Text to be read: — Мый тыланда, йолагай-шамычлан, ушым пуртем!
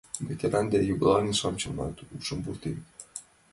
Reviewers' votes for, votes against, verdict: 1, 2, rejected